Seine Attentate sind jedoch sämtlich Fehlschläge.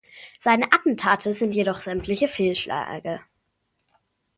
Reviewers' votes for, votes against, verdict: 0, 2, rejected